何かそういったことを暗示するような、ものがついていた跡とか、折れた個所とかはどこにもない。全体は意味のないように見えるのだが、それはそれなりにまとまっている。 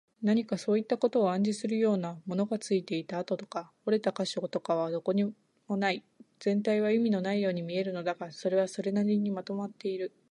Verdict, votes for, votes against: accepted, 3, 0